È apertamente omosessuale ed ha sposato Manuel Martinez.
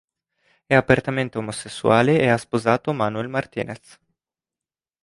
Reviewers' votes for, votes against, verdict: 1, 2, rejected